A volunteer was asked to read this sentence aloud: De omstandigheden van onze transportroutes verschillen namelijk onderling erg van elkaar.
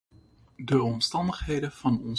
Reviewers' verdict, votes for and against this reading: rejected, 0, 2